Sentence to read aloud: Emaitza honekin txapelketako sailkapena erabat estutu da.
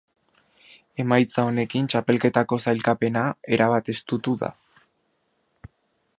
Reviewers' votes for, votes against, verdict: 2, 1, accepted